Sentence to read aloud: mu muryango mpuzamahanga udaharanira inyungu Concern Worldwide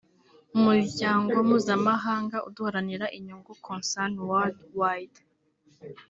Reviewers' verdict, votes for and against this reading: rejected, 1, 2